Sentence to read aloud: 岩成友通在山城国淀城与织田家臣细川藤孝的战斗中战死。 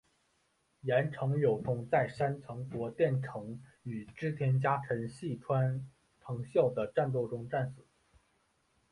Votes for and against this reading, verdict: 0, 2, rejected